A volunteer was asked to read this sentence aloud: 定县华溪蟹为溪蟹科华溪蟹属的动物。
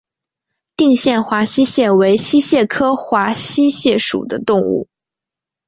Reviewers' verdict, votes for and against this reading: accepted, 2, 0